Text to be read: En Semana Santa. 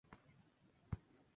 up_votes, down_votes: 0, 2